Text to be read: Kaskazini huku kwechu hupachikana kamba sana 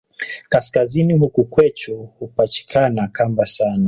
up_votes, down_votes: 2, 0